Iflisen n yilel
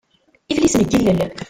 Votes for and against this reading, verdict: 1, 2, rejected